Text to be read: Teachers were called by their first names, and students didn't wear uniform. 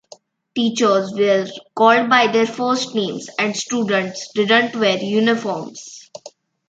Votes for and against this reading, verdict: 1, 2, rejected